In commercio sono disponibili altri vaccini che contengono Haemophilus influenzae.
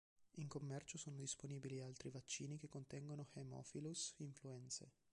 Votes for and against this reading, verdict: 4, 1, accepted